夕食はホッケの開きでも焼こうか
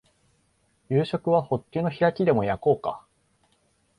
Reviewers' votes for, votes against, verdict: 2, 0, accepted